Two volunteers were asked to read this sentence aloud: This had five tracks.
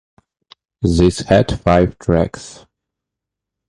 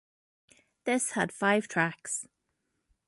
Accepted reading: second